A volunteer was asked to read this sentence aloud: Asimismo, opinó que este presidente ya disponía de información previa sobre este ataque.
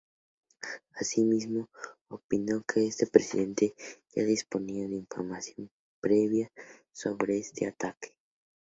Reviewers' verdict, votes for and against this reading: accepted, 2, 0